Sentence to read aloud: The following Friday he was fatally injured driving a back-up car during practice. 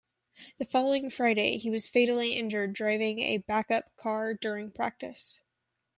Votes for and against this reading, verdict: 2, 0, accepted